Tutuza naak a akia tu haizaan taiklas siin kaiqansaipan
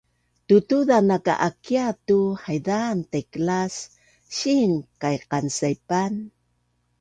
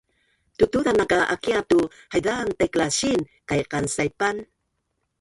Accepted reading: first